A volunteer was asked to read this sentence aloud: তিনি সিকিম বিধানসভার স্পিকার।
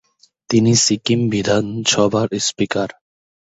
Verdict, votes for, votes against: accepted, 2, 0